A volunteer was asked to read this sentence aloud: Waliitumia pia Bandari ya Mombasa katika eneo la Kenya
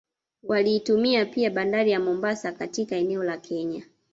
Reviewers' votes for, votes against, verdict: 2, 0, accepted